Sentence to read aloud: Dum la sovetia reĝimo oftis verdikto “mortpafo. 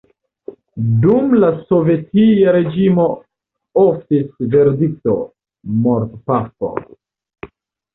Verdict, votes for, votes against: accepted, 2, 1